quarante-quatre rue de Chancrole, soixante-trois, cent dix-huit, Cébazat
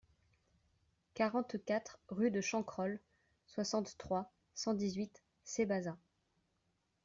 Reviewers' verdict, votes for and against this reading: accepted, 2, 0